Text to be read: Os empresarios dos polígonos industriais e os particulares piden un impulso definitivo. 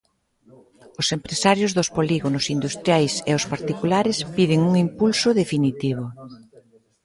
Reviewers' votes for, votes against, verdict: 1, 2, rejected